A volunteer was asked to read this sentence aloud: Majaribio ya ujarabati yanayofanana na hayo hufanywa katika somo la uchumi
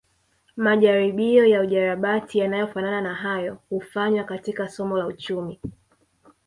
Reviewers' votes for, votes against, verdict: 2, 0, accepted